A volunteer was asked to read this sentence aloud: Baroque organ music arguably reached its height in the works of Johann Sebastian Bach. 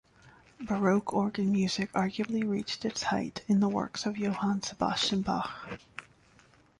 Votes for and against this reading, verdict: 2, 0, accepted